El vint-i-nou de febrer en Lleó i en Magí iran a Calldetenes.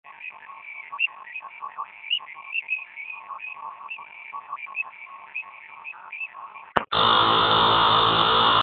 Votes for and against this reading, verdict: 0, 3, rejected